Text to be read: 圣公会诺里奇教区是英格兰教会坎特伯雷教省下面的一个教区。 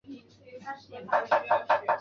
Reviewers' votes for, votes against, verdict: 0, 2, rejected